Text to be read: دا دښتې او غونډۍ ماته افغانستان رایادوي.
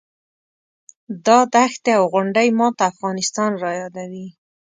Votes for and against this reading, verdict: 2, 0, accepted